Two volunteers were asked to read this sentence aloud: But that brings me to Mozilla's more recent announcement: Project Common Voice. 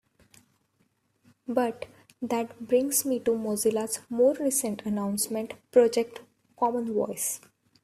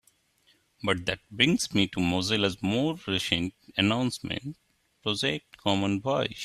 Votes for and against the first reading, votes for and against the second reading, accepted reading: 2, 0, 0, 2, first